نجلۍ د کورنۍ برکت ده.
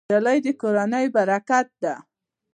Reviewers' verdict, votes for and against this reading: rejected, 1, 2